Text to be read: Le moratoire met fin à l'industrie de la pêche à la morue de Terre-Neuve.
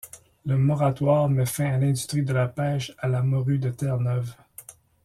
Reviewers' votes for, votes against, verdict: 2, 1, accepted